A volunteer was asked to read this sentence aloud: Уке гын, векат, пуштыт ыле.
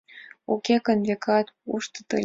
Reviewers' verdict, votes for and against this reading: accepted, 2, 0